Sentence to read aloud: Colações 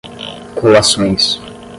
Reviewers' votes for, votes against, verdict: 5, 10, rejected